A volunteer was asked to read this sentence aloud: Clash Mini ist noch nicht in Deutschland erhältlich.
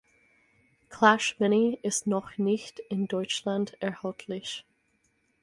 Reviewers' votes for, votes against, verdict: 4, 0, accepted